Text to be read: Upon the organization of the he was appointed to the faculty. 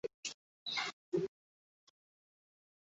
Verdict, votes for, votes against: rejected, 0, 2